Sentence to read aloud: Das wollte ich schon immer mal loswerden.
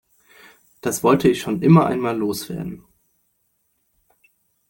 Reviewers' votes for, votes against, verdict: 0, 2, rejected